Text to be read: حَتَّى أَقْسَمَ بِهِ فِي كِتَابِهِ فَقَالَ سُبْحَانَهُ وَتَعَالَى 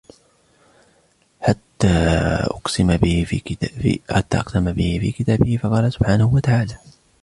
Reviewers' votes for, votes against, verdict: 0, 2, rejected